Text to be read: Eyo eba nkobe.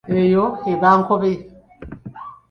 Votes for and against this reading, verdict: 0, 2, rejected